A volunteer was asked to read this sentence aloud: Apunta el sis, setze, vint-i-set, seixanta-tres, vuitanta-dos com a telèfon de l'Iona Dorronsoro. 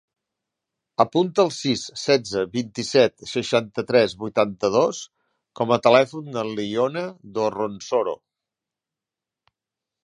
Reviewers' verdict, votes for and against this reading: accepted, 2, 0